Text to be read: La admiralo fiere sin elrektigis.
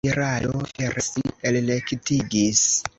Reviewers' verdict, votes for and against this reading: rejected, 1, 2